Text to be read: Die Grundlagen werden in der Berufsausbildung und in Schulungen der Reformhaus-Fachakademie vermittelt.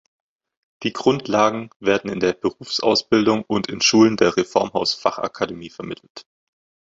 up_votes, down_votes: 0, 2